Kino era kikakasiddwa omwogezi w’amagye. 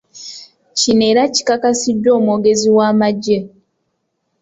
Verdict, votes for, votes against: accepted, 2, 0